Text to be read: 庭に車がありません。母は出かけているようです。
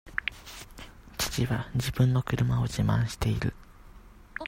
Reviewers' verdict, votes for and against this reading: rejected, 0, 2